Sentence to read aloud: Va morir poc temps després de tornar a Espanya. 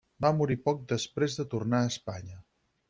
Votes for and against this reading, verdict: 2, 4, rejected